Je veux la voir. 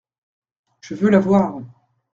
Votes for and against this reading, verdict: 2, 0, accepted